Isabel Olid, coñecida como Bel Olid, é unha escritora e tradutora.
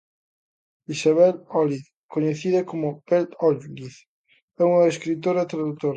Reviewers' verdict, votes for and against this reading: rejected, 0, 2